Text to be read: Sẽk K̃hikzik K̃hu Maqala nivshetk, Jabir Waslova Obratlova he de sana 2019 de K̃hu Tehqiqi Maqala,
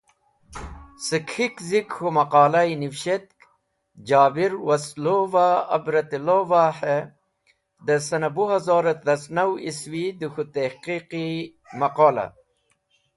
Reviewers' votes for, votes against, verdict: 0, 2, rejected